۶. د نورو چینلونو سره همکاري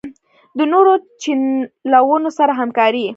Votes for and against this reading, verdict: 0, 2, rejected